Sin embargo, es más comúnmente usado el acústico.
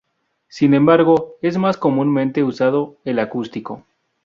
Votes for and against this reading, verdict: 2, 2, rejected